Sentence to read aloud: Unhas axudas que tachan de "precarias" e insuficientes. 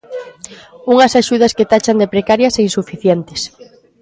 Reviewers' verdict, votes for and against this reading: accepted, 2, 0